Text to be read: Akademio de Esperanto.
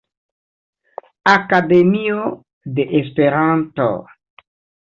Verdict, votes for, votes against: accepted, 2, 1